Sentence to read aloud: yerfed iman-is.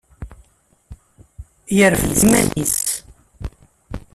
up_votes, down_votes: 1, 2